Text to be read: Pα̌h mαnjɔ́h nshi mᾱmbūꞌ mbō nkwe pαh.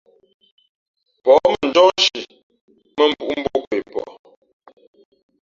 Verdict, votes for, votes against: accepted, 3, 0